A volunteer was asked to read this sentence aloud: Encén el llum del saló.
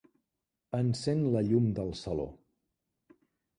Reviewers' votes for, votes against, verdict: 1, 2, rejected